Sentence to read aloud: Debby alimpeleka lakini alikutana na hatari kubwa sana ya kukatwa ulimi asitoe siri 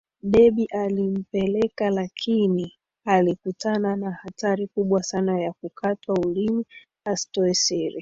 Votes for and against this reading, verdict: 2, 1, accepted